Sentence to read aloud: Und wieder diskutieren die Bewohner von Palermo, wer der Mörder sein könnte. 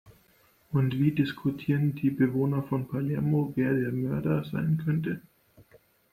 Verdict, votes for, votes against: rejected, 0, 2